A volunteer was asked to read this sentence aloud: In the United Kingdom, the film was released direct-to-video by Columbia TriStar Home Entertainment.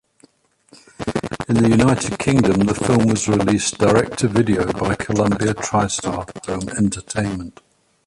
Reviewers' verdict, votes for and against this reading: rejected, 1, 2